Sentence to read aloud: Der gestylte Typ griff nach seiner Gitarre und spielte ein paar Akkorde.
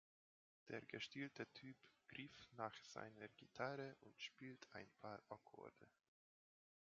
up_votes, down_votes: 0, 2